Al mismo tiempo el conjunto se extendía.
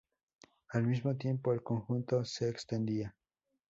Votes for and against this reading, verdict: 0, 2, rejected